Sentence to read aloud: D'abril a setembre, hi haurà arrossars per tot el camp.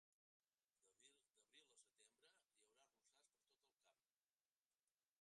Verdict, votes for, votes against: rejected, 1, 2